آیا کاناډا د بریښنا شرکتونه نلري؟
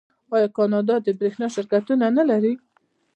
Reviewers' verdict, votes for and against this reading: accepted, 2, 0